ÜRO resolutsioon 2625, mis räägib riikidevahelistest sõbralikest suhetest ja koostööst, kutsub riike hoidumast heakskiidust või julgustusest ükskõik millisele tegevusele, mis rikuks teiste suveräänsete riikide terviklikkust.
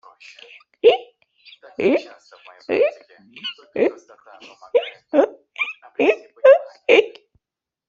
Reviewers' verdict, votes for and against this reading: rejected, 0, 2